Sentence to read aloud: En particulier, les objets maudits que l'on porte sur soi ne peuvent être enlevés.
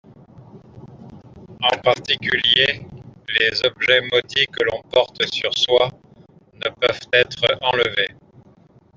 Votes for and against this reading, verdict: 2, 1, accepted